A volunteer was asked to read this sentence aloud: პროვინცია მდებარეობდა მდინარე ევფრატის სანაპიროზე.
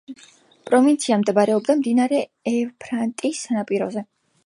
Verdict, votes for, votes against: accepted, 2, 0